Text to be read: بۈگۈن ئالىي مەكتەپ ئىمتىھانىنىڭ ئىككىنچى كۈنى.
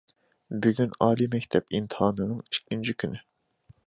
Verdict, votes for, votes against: accepted, 2, 0